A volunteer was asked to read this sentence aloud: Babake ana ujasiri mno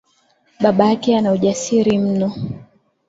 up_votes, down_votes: 4, 0